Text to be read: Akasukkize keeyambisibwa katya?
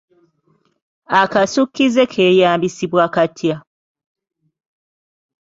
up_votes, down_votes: 2, 0